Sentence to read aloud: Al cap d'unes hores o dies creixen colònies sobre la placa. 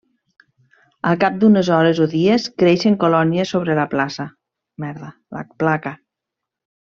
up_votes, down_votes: 1, 2